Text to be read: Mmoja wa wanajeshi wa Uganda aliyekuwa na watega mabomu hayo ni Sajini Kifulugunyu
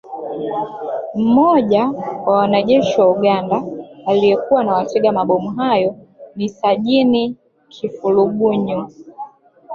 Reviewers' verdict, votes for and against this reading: rejected, 1, 2